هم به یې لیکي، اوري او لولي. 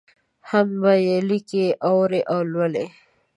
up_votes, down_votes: 0, 2